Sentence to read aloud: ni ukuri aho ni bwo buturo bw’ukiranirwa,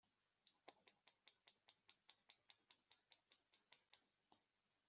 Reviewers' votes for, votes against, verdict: 1, 3, rejected